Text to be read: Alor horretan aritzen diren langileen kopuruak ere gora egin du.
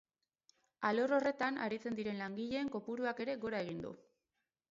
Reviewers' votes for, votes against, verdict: 4, 0, accepted